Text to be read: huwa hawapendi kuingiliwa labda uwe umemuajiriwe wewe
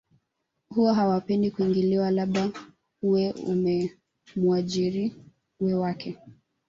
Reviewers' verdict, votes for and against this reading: rejected, 0, 2